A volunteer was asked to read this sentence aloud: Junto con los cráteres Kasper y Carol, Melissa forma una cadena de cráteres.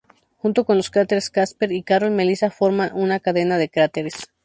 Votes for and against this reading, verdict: 0, 2, rejected